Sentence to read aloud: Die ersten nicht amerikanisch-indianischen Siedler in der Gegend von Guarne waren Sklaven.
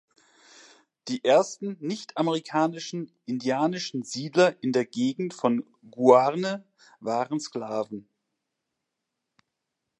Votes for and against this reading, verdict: 0, 2, rejected